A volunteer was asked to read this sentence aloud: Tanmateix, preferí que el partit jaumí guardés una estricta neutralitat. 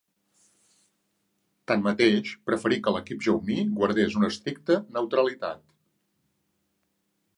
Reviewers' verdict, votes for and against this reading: rejected, 0, 2